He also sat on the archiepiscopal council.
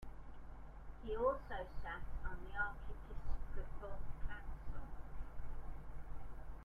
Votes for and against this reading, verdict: 0, 2, rejected